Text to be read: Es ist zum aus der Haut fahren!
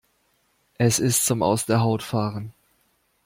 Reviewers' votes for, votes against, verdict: 2, 0, accepted